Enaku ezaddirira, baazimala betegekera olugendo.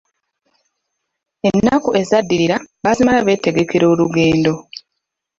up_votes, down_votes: 0, 2